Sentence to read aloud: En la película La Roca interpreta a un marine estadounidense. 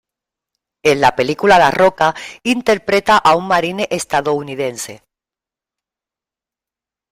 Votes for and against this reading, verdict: 2, 0, accepted